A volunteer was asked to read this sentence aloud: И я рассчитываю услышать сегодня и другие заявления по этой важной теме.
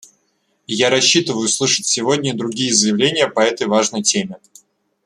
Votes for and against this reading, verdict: 2, 0, accepted